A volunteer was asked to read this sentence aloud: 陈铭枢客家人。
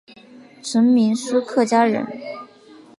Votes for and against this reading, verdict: 2, 0, accepted